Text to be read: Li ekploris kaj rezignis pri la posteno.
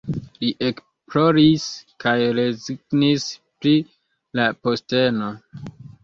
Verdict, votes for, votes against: rejected, 0, 2